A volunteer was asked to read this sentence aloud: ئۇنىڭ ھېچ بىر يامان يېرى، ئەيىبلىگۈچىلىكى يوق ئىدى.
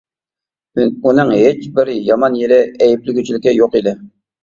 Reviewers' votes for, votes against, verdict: 0, 2, rejected